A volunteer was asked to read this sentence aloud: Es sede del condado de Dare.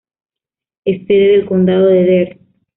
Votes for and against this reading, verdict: 1, 2, rejected